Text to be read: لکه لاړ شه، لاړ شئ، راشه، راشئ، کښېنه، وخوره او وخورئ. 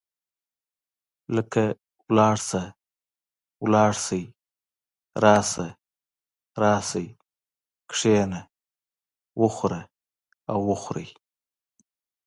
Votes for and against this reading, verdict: 2, 0, accepted